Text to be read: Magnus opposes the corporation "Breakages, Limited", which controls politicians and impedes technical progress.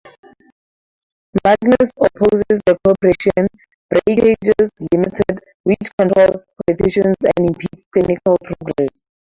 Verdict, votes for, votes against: accepted, 2, 0